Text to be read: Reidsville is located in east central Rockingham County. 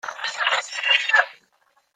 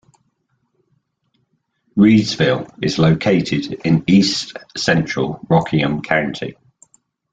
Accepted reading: second